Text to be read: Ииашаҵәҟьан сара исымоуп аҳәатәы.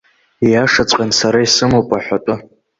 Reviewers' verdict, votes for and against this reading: accepted, 2, 0